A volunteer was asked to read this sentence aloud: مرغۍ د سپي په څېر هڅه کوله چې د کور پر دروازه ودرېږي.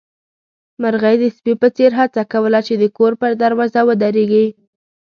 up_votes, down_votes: 2, 0